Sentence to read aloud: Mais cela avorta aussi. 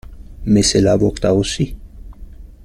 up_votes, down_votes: 1, 2